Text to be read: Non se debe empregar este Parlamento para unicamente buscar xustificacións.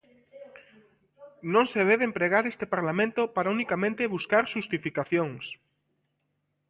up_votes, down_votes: 2, 0